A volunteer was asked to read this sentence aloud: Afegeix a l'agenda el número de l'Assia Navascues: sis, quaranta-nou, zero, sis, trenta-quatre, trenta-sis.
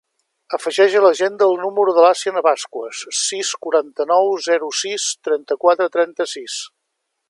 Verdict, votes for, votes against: accepted, 2, 0